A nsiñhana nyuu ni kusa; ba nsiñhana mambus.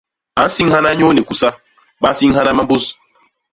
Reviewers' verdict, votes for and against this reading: accepted, 2, 0